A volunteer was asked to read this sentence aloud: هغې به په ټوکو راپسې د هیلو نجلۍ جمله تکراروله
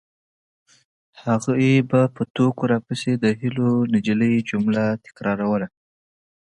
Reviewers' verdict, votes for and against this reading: accepted, 2, 0